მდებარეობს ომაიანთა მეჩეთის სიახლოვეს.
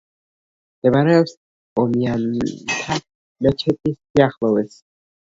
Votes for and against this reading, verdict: 1, 2, rejected